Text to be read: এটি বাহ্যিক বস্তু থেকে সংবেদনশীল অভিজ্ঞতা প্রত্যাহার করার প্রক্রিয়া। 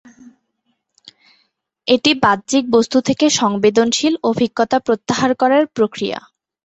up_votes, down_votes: 2, 0